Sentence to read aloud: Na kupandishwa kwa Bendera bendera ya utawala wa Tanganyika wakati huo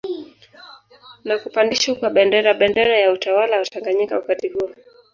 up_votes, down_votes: 2, 0